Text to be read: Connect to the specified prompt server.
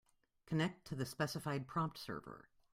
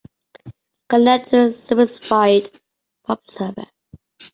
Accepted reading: first